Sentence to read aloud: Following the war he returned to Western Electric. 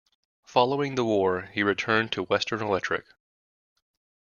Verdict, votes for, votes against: accepted, 2, 0